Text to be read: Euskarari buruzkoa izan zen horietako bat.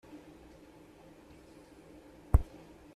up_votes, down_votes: 0, 2